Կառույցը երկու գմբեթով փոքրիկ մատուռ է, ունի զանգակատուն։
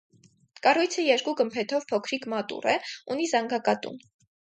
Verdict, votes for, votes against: accepted, 4, 0